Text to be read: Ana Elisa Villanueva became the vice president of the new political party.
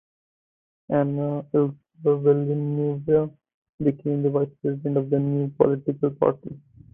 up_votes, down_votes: 2, 0